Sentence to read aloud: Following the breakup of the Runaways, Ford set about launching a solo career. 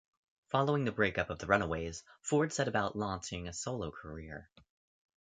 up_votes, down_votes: 2, 0